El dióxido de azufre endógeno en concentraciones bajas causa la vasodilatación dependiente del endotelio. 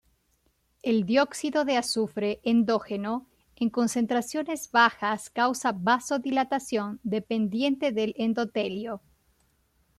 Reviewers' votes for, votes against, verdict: 0, 2, rejected